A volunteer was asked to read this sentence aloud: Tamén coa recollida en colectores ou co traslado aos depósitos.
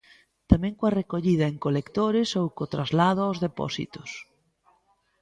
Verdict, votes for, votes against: accepted, 2, 0